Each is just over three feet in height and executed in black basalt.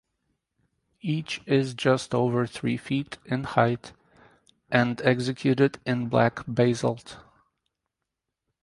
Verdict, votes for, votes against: accepted, 4, 0